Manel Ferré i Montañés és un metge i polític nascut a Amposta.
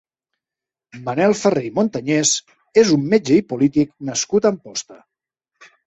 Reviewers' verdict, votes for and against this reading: accepted, 2, 0